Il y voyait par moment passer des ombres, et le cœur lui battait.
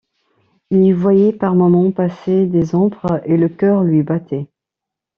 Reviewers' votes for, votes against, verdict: 2, 0, accepted